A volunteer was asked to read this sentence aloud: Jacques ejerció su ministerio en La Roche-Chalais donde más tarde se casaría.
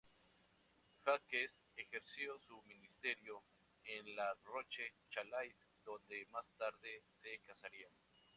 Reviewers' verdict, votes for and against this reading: rejected, 0, 2